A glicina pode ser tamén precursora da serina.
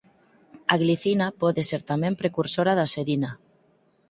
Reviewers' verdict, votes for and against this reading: accepted, 4, 0